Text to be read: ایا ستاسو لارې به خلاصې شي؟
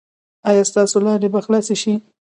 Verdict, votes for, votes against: accepted, 2, 0